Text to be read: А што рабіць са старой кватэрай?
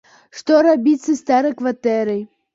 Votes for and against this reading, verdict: 0, 3, rejected